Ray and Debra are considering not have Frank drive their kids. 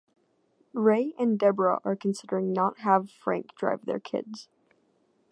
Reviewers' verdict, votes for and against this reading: accepted, 2, 0